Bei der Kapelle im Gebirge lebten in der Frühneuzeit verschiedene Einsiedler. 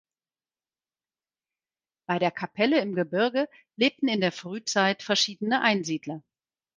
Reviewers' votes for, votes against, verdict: 0, 4, rejected